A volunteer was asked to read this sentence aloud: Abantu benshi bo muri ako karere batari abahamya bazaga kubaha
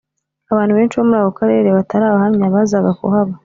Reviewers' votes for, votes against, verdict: 2, 0, accepted